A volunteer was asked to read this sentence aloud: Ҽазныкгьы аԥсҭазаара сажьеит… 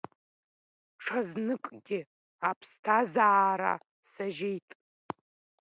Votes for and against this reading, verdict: 2, 0, accepted